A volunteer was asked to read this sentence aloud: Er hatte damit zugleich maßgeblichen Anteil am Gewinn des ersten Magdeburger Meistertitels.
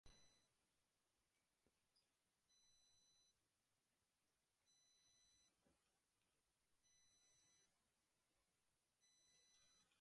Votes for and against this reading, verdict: 0, 2, rejected